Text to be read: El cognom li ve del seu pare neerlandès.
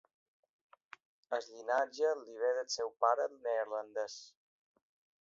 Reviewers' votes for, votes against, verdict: 1, 2, rejected